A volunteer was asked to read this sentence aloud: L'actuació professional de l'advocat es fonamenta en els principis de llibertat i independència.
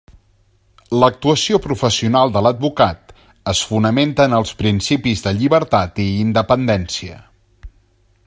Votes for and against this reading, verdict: 3, 0, accepted